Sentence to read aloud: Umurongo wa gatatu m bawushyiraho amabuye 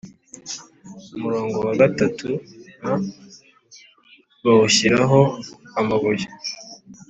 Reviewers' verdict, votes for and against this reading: accepted, 2, 0